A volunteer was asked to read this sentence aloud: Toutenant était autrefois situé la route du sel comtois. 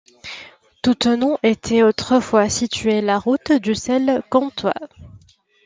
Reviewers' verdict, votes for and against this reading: accepted, 2, 0